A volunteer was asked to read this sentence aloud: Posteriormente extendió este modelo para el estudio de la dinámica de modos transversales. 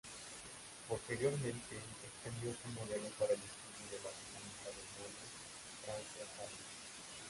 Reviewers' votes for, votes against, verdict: 0, 2, rejected